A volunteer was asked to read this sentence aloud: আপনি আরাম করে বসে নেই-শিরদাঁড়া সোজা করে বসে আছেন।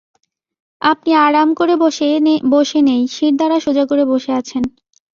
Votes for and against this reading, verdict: 0, 2, rejected